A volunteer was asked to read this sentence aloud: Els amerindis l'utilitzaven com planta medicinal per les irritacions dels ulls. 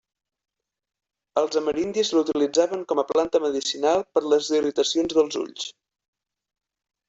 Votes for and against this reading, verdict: 3, 2, accepted